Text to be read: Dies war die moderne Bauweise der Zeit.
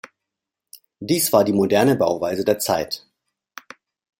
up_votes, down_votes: 2, 0